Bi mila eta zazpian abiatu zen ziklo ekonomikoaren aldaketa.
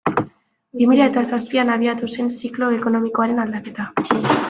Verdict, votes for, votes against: accepted, 2, 0